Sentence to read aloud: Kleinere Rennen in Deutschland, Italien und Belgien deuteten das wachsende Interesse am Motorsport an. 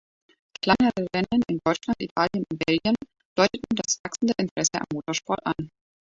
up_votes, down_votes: 0, 2